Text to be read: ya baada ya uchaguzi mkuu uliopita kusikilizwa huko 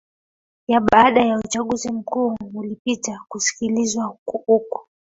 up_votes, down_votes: 0, 2